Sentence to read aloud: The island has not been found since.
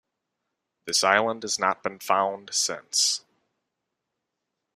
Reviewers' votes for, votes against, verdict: 0, 2, rejected